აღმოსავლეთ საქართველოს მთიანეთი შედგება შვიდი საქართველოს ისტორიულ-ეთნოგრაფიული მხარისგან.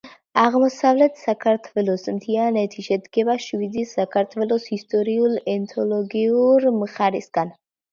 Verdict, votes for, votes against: rejected, 0, 3